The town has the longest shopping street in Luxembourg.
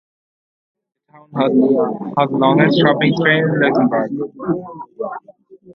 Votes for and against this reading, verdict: 1, 4, rejected